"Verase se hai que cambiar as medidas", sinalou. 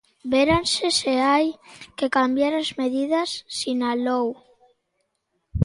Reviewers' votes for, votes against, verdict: 2, 1, accepted